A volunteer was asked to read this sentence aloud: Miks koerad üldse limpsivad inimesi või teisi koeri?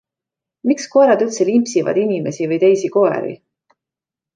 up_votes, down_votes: 2, 0